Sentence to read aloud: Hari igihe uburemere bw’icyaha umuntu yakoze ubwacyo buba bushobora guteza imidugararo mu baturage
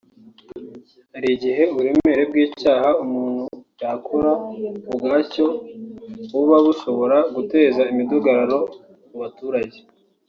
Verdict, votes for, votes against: rejected, 0, 2